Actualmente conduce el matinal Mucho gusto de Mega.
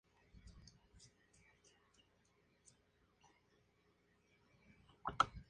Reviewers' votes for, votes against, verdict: 0, 2, rejected